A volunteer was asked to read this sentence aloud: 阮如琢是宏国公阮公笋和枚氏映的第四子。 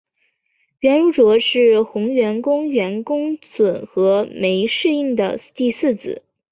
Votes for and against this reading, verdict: 4, 0, accepted